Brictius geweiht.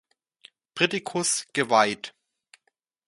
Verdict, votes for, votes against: rejected, 0, 2